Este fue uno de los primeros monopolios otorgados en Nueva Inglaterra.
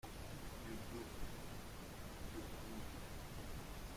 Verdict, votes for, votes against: rejected, 0, 2